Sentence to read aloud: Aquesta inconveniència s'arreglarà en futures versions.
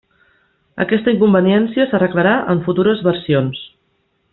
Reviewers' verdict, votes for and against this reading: accepted, 3, 0